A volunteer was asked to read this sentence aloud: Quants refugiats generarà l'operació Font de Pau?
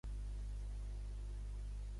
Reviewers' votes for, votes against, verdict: 0, 2, rejected